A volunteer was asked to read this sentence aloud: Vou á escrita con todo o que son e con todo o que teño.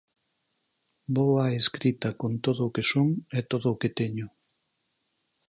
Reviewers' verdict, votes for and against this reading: rejected, 0, 4